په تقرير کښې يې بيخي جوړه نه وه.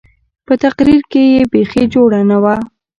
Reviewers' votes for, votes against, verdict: 2, 0, accepted